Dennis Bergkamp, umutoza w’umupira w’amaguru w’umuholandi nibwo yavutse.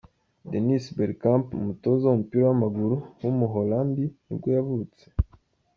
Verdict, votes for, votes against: accepted, 2, 0